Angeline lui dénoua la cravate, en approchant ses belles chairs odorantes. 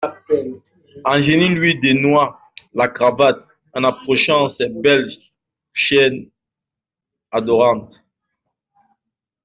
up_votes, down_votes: 1, 2